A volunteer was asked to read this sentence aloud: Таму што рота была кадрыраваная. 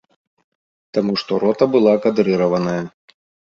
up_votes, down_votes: 2, 0